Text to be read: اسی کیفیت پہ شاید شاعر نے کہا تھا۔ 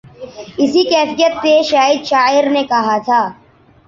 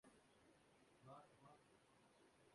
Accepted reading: first